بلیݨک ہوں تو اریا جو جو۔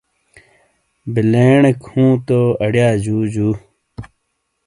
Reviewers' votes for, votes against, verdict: 2, 0, accepted